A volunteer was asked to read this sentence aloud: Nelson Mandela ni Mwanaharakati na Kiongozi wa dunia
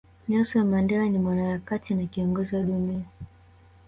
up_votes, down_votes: 3, 0